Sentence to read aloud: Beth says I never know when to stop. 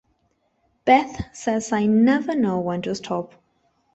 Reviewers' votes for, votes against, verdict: 0, 2, rejected